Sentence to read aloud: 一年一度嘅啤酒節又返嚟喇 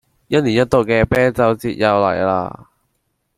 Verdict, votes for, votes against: rejected, 0, 2